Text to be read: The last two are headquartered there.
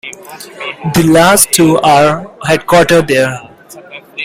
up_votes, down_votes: 2, 0